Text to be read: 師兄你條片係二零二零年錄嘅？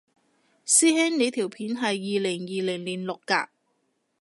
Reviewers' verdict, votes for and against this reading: rejected, 0, 2